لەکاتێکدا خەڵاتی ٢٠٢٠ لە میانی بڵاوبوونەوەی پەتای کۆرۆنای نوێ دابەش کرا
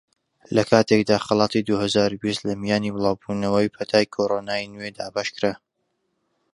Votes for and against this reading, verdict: 0, 2, rejected